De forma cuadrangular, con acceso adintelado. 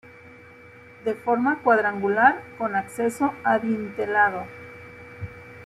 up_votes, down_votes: 2, 0